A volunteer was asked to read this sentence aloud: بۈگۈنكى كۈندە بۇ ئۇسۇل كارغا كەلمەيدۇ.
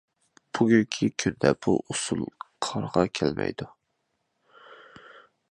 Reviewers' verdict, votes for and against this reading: rejected, 0, 2